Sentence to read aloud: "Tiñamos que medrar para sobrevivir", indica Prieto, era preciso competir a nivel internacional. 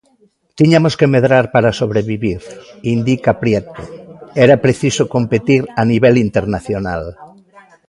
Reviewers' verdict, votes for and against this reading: rejected, 0, 2